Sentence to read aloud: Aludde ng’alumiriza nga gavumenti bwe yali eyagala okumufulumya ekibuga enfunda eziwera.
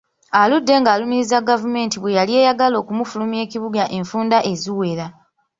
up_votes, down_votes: 1, 2